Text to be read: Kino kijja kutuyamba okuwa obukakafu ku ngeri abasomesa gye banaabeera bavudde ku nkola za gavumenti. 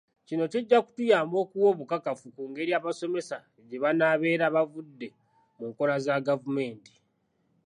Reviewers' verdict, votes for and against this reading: accepted, 2, 0